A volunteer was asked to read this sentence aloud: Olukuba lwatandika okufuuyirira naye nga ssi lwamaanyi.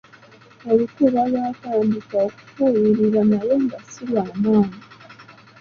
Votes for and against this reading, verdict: 2, 1, accepted